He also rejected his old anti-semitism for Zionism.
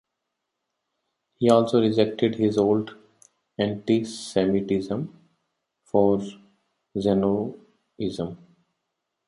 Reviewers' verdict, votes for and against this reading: rejected, 0, 2